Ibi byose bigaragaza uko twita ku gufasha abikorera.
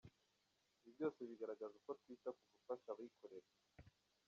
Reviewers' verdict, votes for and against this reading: rejected, 0, 2